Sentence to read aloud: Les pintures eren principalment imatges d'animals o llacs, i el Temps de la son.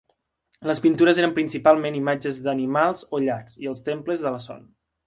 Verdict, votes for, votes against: rejected, 0, 2